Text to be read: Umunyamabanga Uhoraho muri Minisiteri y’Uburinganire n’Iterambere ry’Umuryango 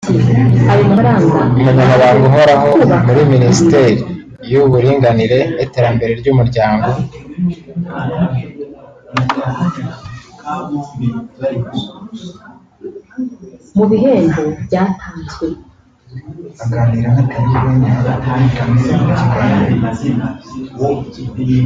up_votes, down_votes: 1, 2